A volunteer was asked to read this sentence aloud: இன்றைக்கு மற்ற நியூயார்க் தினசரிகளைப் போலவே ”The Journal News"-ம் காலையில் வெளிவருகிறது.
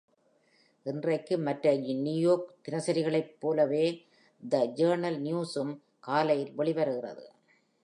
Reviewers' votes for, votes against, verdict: 1, 2, rejected